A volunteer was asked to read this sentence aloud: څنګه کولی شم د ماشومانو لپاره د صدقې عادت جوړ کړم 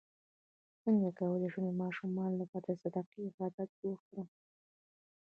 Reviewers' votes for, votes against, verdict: 0, 2, rejected